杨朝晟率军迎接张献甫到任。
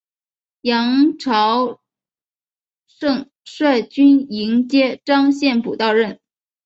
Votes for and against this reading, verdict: 0, 3, rejected